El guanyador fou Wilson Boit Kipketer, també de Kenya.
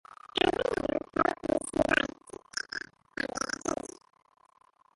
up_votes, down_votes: 0, 2